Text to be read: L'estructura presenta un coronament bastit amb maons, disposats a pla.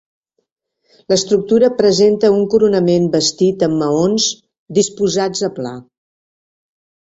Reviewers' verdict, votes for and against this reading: accepted, 4, 0